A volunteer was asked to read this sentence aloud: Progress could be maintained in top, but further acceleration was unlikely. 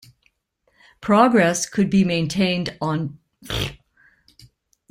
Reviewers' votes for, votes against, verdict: 0, 2, rejected